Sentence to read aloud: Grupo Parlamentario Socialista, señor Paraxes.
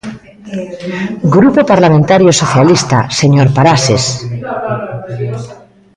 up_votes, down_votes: 1, 2